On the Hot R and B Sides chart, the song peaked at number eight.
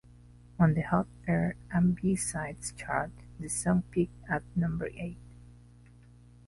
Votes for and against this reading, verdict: 2, 0, accepted